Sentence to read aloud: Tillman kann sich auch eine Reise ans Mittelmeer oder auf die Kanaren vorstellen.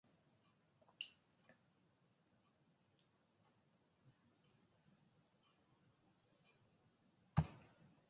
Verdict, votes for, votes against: rejected, 0, 2